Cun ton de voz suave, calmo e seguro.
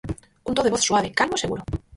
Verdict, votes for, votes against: rejected, 0, 4